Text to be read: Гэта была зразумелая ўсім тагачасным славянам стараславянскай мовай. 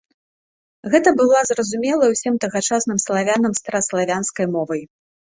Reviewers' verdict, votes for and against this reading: accepted, 2, 0